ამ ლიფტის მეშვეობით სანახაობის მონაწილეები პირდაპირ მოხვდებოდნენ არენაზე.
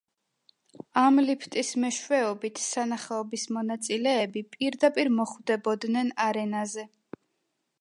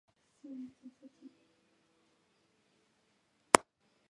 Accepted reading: first